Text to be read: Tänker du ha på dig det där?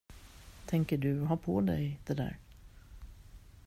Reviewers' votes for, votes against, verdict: 2, 0, accepted